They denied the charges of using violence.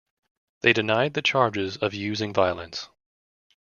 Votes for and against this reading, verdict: 2, 0, accepted